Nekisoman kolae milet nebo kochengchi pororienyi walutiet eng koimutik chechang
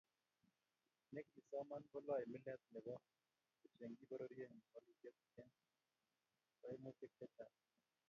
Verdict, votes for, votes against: rejected, 1, 2